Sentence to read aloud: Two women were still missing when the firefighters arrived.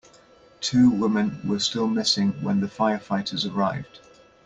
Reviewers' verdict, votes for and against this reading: rejected, 0, 2